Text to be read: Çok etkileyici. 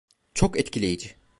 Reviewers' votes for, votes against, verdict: 2, 0, accepted